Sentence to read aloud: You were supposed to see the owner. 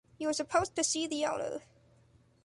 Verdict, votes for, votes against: rejected, 0, 2